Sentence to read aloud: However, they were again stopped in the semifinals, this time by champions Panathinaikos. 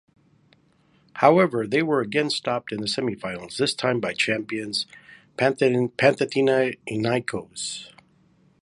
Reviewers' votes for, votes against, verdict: 1, 2, rejected